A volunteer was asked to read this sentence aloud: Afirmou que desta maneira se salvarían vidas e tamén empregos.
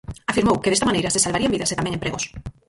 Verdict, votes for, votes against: rejected, 2, 4